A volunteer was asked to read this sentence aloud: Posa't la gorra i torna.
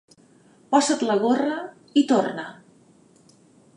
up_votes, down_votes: 0, 2